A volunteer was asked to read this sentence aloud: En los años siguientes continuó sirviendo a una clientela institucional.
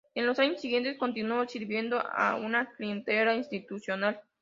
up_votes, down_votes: 2, 0